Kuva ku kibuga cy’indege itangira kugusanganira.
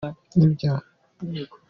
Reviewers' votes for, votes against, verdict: 1, 2, rejected